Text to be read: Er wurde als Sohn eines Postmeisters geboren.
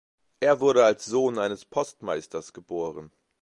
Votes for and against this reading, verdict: 2, 0, accepted